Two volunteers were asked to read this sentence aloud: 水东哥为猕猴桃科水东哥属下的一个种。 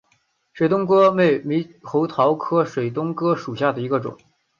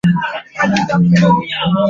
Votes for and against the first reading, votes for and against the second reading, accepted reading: 2, 1, 0, 4, first